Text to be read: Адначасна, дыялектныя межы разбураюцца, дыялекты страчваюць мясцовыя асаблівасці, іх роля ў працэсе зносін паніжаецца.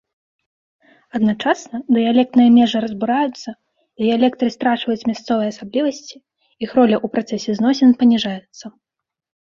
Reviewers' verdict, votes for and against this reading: accepted, 2, 0